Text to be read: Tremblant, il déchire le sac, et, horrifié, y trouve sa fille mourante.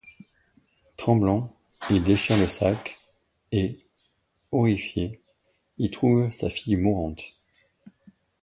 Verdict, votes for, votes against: accepted, 2, 0